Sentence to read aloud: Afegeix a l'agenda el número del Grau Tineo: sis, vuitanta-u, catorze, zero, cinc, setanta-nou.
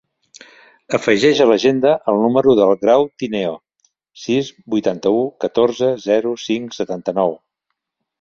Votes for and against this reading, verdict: 3, 0, accepted